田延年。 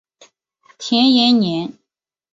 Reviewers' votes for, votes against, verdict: 3, 0, accepted